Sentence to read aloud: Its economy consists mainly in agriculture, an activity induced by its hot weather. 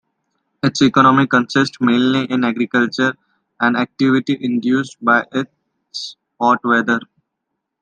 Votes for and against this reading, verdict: 2, 0, accepted